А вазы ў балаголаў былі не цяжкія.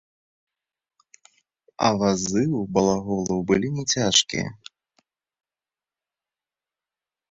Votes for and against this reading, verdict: 2, 0, accepted